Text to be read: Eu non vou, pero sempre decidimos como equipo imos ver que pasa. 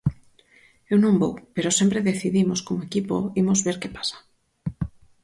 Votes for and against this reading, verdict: 4, 0, accepted